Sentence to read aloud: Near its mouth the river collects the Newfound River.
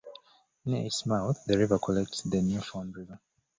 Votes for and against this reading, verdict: 1, 2, rejected